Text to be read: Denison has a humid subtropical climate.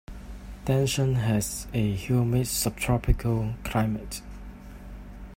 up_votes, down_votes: 2, 0